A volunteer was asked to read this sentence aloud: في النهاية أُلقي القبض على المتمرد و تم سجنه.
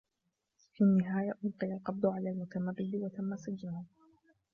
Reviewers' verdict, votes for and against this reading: accepted, 2, 1